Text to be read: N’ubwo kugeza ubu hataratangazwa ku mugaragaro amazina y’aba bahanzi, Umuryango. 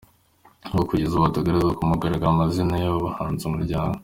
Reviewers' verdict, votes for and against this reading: accepted, 2, 1